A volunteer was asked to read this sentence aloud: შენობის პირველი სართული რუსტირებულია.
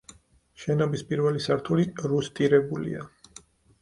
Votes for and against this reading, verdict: 4, 0, accepted